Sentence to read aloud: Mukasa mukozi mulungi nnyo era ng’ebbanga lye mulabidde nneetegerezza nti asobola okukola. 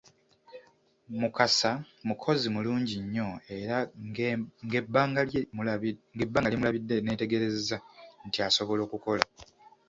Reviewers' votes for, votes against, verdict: 0, 2, rejected